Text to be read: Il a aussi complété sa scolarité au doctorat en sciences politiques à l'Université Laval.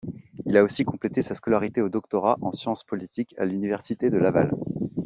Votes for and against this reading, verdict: 0, 2, rejected